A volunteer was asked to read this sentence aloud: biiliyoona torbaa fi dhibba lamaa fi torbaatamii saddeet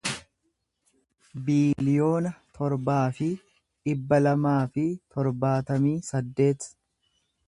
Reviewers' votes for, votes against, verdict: 2, 0, accepted